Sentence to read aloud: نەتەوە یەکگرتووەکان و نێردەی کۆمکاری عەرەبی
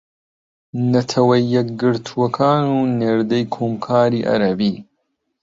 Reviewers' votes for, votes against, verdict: 1, 3, rejected